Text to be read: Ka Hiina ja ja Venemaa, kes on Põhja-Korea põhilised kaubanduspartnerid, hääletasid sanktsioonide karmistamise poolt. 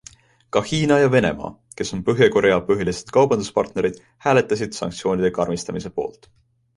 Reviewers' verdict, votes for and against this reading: accepted, 2, 0